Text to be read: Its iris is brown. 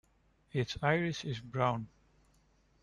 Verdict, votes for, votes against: accepted, 2, 0